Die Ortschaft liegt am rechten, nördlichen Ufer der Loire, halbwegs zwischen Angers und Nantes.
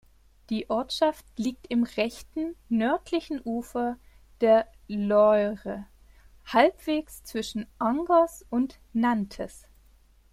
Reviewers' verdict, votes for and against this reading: rejected, 1, 3